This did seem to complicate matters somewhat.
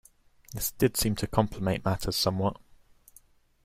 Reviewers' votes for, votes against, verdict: 1, 2, rejected